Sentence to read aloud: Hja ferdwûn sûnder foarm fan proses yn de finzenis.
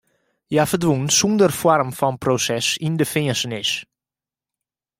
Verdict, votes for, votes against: rejected, 1, 2